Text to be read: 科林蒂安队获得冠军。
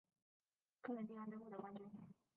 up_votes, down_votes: 0, 5